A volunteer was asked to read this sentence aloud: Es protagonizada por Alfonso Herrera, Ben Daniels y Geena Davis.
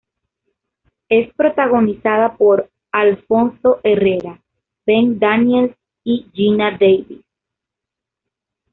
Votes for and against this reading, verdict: 2, 0, accepted